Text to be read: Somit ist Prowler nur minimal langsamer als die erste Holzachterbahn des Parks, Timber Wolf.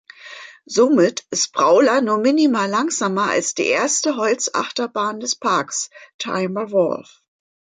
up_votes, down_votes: 0, 2